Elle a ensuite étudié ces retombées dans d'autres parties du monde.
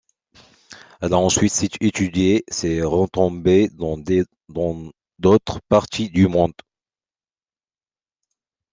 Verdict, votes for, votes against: rejected, 0, 2